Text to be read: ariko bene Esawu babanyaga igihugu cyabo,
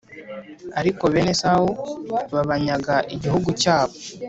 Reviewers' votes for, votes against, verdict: 2, 0, accepted